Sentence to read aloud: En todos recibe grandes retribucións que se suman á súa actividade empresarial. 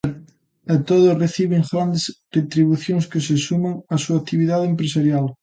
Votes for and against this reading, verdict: 1, 2, rejected